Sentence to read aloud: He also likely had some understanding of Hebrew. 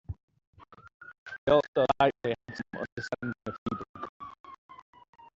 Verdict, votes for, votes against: rejected, 0, 2